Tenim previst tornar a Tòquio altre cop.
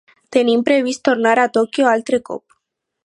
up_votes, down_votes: 4, 0